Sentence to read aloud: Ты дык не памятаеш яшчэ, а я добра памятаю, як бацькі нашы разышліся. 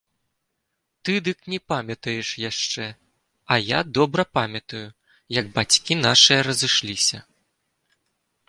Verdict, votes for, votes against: rejected, 1, 2